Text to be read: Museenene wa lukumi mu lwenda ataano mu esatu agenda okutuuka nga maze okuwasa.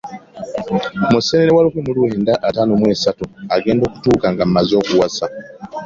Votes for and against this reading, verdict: 2, 0, accepted